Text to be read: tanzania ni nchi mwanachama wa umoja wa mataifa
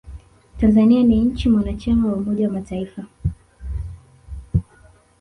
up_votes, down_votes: 0, 2